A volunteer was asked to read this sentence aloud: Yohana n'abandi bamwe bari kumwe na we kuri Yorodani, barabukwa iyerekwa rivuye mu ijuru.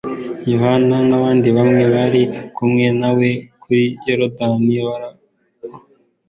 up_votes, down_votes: 0, 2